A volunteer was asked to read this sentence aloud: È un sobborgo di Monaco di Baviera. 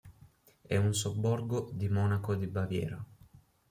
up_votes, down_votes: 3, 0